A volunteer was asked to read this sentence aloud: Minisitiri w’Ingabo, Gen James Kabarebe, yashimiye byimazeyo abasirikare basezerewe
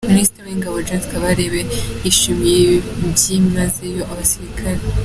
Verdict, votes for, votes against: rejected, 0, 3